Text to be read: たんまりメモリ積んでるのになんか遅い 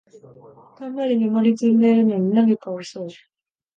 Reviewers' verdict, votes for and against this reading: rejected, 1, 2